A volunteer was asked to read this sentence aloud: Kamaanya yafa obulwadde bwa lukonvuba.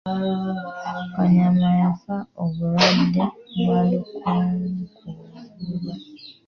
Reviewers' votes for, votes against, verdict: 0, 2, rejected